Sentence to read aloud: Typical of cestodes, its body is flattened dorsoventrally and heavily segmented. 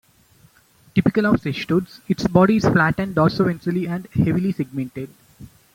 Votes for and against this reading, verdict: 2, 0, accepted